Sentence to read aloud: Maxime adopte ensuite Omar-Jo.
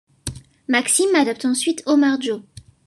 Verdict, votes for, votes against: accepted, 2, 0